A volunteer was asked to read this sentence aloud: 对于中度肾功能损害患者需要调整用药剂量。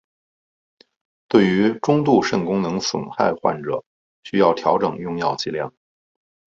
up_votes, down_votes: 3, 1